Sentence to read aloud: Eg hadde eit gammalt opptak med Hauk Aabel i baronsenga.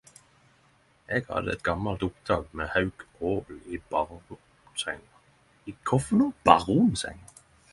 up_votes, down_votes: 0, 10